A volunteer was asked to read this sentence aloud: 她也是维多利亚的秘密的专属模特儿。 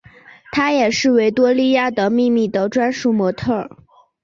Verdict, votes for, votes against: accepted, 2, 0